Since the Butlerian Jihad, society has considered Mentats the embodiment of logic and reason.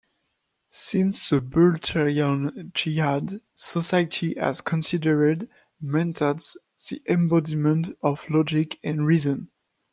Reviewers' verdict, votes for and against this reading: rejected, 0, 2